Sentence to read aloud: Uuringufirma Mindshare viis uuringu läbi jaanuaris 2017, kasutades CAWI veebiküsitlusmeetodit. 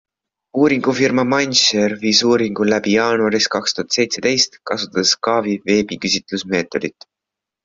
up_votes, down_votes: 0, 2